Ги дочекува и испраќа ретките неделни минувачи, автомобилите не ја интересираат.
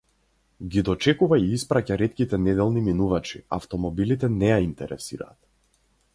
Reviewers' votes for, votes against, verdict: 6, 0, accepted